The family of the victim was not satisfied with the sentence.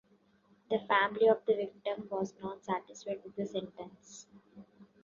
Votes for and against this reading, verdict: 0, 2, rejected